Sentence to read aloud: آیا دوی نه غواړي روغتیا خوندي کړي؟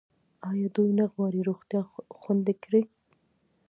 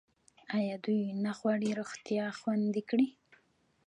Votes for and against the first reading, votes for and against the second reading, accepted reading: 0, 2, 2, 1, second